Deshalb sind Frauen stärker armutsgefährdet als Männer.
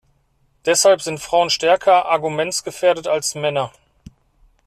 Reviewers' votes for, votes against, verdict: 0, 2, rejected